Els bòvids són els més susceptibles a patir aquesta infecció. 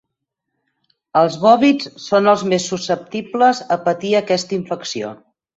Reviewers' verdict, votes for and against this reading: accepted, 4, 0